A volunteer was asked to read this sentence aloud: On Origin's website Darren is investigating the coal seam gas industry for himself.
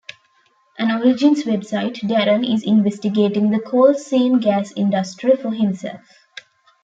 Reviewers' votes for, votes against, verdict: 1, 2, rejected